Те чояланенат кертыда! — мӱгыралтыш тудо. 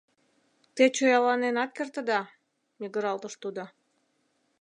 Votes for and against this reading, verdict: 2, 0, accepted